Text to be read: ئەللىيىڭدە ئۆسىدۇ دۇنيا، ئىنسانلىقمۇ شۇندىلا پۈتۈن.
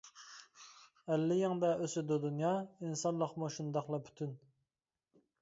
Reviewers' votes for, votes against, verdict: 0, 2, rejected